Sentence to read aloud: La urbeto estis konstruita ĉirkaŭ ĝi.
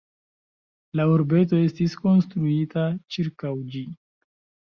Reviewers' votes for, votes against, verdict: 1, 3, rejected